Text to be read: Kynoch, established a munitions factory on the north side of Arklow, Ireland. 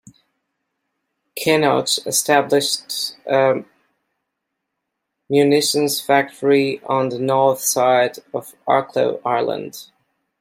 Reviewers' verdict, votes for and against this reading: rejected, 0, 2